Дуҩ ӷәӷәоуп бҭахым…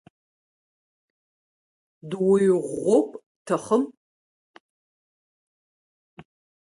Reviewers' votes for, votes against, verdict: 1, 3, rejected